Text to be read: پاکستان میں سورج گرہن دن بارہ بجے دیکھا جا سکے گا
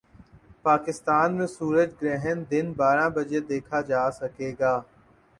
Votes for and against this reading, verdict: 7, 0, accepted